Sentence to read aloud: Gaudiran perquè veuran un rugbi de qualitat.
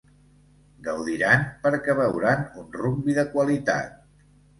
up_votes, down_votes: 2, 0